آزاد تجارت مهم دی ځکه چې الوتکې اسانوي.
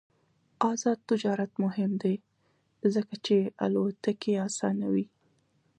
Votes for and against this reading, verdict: 1, 2, rejected